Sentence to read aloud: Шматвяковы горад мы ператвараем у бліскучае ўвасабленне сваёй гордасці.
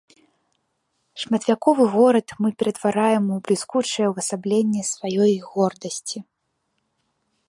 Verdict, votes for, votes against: accepted, 3, 0